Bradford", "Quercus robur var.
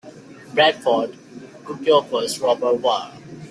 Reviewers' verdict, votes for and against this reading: accepted, 2, 0